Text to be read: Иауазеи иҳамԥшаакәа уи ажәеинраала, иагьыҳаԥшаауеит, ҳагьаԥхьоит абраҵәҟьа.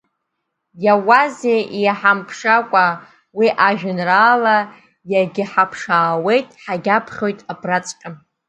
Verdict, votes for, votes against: accepted, 2, 0